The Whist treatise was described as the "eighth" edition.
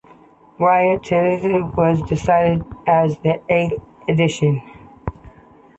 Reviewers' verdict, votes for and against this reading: accepted, 2, 1